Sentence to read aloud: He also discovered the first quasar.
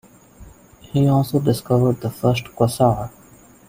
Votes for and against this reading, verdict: 0, 2, rejected